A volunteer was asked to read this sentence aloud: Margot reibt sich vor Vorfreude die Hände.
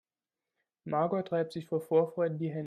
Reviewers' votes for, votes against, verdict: 1, 2, rejected